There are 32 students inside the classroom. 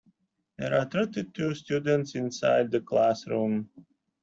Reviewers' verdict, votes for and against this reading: rejected, 0, 2